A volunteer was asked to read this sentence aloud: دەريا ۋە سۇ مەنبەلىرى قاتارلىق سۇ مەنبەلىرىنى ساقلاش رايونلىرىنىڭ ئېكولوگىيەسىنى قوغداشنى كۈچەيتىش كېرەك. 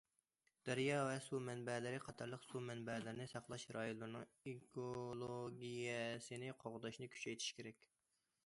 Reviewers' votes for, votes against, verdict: 2, 0, accepted